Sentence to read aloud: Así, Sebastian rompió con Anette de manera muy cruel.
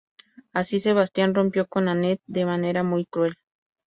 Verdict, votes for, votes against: accepted, 2, 0